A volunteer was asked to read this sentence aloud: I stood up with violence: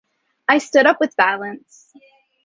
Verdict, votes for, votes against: accepted, 2, 0